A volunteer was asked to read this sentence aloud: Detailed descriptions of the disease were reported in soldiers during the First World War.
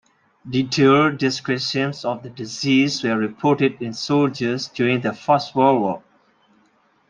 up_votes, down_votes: 2, 0